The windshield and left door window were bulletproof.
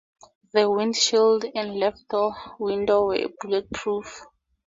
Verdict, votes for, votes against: rejected, 0, 2